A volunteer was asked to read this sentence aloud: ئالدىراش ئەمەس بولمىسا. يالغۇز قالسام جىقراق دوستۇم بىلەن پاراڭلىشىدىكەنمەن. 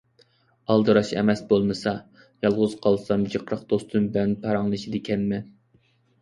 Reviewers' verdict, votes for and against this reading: accepted, 2, 1